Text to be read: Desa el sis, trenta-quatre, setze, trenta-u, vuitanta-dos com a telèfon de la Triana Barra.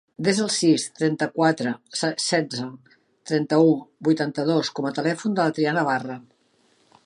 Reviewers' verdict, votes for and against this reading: rejected, 1, 2